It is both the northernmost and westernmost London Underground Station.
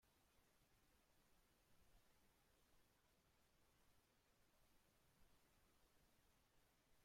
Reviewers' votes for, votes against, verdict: 0, 2, rejected